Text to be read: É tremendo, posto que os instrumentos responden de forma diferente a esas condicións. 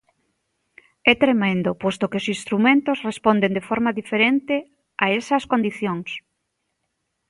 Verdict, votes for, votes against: accepted, 2, 0